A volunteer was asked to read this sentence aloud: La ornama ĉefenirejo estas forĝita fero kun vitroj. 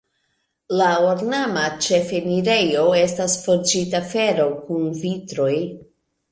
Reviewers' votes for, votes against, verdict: 3, 0, accepted